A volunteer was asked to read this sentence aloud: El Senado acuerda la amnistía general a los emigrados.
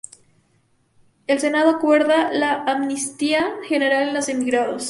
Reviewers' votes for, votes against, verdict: 4, 0, accepted